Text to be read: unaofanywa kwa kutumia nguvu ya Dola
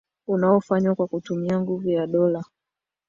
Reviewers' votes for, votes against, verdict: 0, 2, rejected